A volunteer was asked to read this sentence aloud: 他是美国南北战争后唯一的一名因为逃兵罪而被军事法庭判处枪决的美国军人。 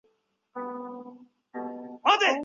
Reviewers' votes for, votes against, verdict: 0, 3, rejected